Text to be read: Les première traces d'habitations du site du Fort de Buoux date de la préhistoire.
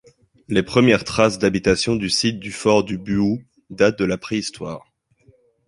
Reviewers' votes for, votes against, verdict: 2, 0, accepted